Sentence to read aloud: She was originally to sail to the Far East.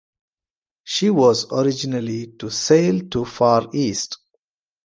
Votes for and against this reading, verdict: 0, 2, rejected